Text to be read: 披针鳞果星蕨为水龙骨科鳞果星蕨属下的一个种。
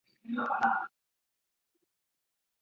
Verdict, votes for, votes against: accepted, 4, 2